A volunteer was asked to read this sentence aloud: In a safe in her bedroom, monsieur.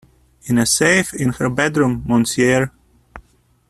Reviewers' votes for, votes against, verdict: 0, 2, rejected